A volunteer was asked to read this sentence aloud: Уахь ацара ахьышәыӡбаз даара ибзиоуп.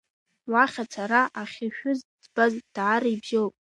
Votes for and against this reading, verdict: 0, 2, rejected